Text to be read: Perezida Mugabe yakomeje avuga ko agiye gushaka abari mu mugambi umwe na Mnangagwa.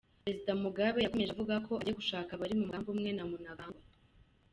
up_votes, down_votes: 1, 2